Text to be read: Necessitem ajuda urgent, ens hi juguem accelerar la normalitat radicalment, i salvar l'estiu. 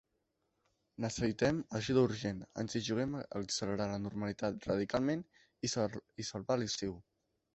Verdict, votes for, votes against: rejected, 1, 2